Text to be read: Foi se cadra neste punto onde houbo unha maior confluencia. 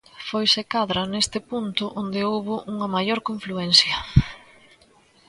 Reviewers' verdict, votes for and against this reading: accepted, 2, 0